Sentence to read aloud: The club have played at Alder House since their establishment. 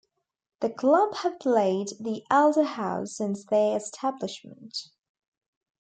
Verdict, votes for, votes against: rejected, 0, 2